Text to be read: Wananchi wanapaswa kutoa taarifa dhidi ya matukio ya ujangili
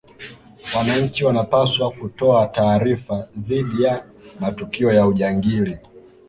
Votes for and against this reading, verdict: 2, 0, accepted